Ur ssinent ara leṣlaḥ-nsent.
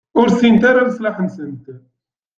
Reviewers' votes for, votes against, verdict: 2, 0, accepted